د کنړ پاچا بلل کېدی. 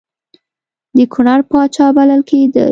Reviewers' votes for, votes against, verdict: 2, 0, accepted